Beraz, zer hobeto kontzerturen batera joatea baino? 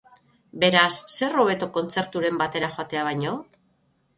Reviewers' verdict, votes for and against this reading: accepted, 9, 0